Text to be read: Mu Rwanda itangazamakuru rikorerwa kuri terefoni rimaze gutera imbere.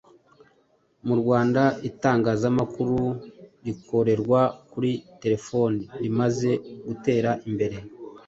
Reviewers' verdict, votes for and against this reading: accepted, 2, 0